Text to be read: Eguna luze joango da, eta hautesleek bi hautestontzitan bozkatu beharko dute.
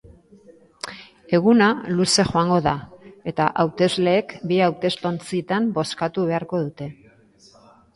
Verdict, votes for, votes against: accepted, 2, 0